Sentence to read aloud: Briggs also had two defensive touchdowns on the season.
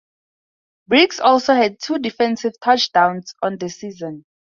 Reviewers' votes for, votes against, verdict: 4, 0, accepted